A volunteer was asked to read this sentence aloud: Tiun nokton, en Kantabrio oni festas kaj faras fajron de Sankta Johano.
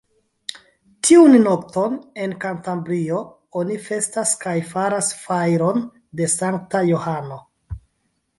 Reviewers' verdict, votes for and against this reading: rejected, 1, 2